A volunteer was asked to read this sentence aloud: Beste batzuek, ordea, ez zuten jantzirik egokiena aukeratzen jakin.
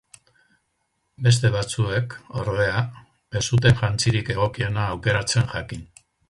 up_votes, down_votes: 4, 0